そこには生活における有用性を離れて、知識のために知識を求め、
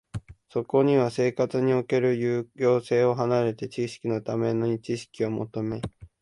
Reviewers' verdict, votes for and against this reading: accepted, 2, 0